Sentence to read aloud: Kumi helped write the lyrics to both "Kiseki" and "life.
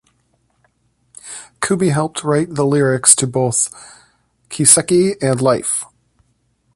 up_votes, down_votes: 2, 1